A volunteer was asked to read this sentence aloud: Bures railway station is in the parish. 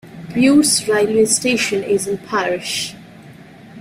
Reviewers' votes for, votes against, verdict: 1, 2, rejected